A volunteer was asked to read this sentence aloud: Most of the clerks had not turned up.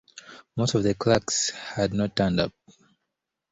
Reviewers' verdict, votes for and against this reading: accepted, 2, 0